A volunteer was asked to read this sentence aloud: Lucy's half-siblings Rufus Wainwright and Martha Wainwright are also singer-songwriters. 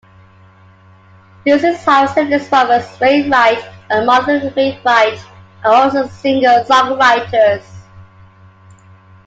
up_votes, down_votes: 0, 2